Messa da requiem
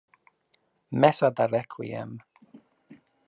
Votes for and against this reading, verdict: 2, 0, accepted